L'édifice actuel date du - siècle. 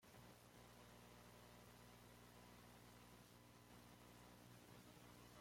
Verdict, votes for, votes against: rejected, 0, 2